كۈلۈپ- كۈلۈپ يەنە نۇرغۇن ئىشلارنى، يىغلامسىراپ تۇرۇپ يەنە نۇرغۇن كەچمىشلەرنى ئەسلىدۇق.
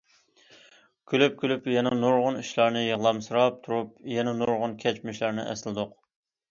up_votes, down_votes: 2, 0